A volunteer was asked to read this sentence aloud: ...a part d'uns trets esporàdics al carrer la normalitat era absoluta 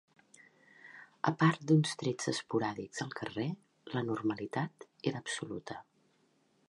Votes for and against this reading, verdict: 3, 0, accepted